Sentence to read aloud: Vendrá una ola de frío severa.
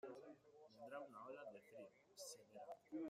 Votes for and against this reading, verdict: 0, 2, rejected